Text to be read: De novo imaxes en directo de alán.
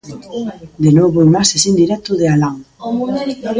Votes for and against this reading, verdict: 2, 0, accepted